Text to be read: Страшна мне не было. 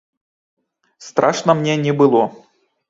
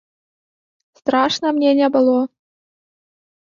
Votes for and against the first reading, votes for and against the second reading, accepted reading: 2, 0, 0, 2, first